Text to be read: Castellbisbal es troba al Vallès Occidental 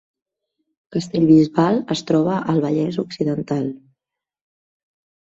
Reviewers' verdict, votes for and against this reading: accepted, 2, 1